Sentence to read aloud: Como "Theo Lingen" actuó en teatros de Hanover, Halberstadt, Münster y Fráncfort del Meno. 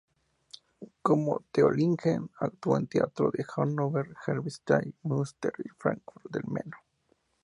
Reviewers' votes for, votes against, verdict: 2, 0, accepted